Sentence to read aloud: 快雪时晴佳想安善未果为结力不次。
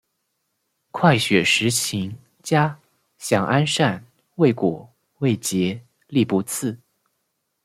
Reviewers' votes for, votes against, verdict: 1, 2, rejected